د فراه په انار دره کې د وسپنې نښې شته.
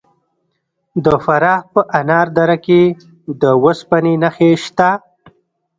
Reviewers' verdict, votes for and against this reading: rejected, 1, 2